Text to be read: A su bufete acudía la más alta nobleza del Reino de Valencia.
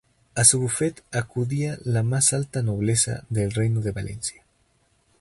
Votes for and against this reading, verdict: 0, 2, rejected